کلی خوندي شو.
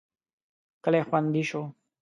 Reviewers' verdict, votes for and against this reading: accepted, 2, 0